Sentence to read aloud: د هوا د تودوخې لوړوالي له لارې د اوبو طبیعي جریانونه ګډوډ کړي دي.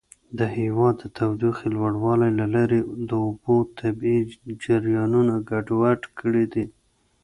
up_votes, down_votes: 0, 2